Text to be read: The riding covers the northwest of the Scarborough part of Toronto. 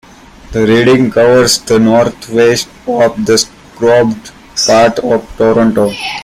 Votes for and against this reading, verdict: 0, 2, rejected